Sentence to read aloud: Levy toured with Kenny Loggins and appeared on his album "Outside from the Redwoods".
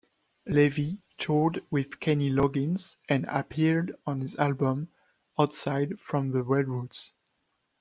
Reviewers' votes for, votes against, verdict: 0, 2, rejected